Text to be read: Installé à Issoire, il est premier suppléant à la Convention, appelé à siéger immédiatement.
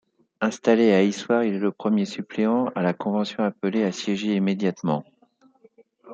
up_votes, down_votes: 0, 2